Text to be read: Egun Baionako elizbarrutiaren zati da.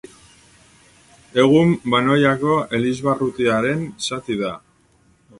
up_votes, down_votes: 0, 2